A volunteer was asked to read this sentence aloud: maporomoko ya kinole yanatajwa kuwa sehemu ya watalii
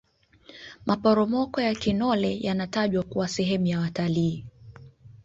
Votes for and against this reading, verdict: 4, 1, accepted